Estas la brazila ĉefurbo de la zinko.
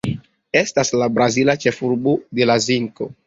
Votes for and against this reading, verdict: 2, 0, accepted